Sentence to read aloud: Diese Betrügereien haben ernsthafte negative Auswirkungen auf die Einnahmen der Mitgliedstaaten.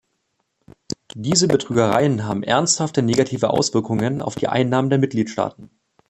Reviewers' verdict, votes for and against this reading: rejected, 1, 2